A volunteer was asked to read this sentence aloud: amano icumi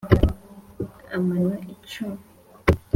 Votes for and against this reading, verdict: 2, 0, accepted